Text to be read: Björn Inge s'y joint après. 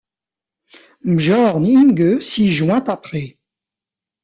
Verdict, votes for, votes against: accepted, 2, 0